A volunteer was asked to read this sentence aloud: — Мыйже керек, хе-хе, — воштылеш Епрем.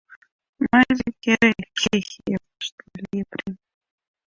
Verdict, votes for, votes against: rejected, 0, 2